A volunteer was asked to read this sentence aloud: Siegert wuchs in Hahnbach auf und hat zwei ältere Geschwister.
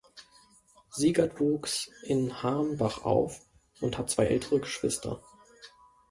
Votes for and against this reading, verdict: 1, 2, rejected